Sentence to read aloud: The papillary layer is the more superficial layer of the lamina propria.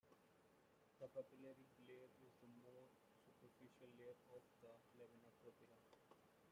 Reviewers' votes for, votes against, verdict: 0, 2, rejected